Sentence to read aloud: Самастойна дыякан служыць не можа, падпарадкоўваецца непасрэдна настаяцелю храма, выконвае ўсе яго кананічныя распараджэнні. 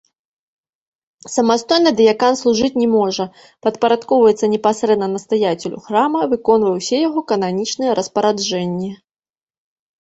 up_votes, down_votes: 1, 2